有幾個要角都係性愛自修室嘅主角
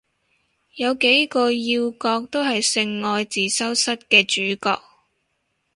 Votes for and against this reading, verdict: 2, 0, accepted